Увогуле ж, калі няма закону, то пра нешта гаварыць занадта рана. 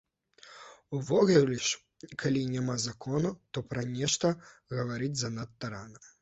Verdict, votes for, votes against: rejected, 1, 2